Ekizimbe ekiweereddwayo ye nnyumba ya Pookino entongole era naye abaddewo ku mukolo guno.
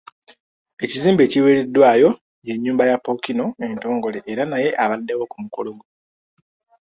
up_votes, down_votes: 2, 0